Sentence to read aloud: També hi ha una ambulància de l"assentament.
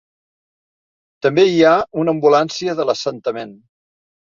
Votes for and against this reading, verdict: 2, 0, accepted